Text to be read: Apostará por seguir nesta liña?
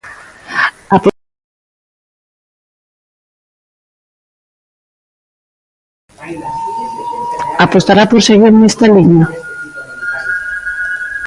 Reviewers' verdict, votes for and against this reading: rejected, 0, 2